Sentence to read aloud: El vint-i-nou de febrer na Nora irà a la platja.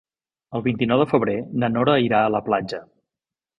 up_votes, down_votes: 4, 0